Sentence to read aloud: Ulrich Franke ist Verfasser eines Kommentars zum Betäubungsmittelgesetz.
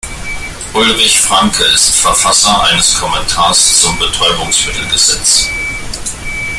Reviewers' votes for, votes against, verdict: 1, 2, rejected